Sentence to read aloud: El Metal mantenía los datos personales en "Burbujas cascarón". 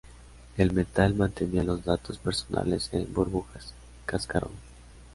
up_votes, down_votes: 2, 0